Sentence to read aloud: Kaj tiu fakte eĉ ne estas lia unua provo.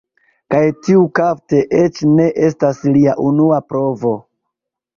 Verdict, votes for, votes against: rejected, 1, 2